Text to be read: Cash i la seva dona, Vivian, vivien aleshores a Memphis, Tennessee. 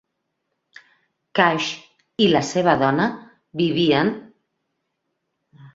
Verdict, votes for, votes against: rejected, 0, 3